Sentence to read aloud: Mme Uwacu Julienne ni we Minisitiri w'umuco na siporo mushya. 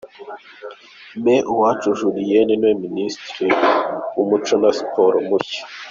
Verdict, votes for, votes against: rejected, 0, 2